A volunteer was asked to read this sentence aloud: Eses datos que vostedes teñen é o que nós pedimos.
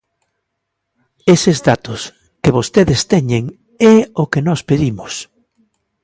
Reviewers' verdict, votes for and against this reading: accepted, 2, 0